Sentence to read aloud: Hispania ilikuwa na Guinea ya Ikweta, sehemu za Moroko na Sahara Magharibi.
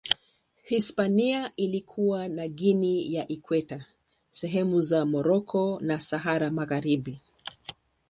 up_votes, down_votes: 8, 0